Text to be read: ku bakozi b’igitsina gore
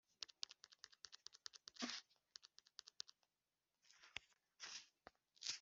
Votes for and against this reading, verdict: 0, 2, rejected